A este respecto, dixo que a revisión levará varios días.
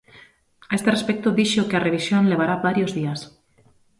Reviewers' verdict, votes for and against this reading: accepted, 2, 0